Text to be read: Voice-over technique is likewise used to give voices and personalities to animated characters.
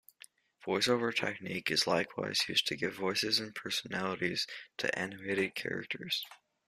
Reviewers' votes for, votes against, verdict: 2, 1, accepted